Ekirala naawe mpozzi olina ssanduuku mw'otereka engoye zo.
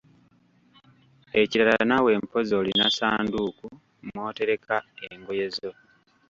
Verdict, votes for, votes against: rejected, 1, 2